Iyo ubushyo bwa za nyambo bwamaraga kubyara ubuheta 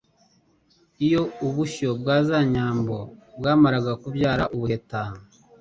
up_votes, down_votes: 2, 0